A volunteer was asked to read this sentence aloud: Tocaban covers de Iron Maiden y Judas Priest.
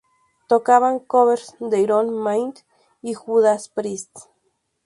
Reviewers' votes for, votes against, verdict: 2, 0, accepted